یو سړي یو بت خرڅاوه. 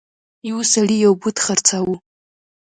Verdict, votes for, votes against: rejected, 1, 2